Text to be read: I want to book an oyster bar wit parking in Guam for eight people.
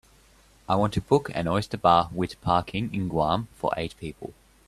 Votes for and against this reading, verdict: 2, 0, accepted